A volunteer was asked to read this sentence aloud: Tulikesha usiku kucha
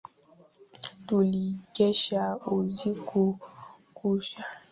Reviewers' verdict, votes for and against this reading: rejected, 1, 3